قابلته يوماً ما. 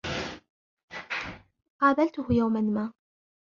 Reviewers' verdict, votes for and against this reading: rejected, 0, 2